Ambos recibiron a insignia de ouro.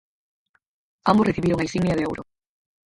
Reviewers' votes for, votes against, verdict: 0, 4, rejected